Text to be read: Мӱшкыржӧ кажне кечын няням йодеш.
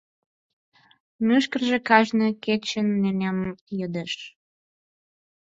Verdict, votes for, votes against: accepted, 4, 0